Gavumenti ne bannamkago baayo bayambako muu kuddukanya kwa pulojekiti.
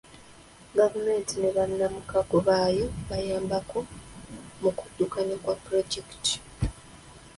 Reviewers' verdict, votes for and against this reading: accepted, 2, 1